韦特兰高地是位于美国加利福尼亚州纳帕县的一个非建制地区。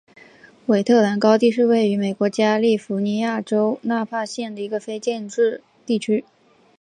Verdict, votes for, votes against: accepted, 2, 0